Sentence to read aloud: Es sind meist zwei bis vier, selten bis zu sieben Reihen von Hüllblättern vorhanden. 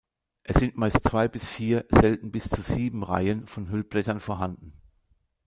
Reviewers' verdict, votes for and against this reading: rejected, 1, 2